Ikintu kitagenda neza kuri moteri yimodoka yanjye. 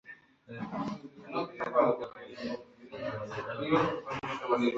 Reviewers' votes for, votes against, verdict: 0, 2, rejected